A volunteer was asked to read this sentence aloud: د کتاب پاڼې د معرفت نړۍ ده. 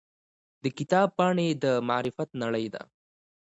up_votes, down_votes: 2, 0